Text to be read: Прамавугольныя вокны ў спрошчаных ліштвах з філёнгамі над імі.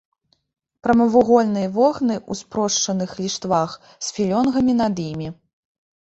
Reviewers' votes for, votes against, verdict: 1, 2, rejected